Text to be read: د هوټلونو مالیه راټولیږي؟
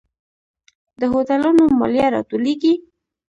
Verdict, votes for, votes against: accepted, 2, 0